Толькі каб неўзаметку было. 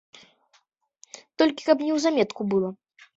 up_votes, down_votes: 2, 0